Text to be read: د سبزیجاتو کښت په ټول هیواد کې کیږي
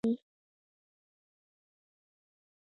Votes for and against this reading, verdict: 0, 2, rejected